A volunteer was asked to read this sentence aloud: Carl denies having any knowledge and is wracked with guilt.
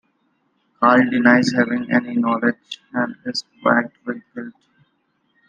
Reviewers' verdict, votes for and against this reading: accepted, 2, 1